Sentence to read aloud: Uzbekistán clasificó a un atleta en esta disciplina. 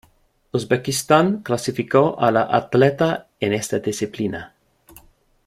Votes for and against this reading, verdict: 0, 2, rejected